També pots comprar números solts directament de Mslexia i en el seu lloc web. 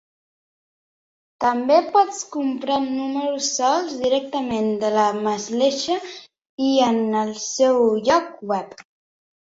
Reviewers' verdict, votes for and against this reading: rejected, 0, 2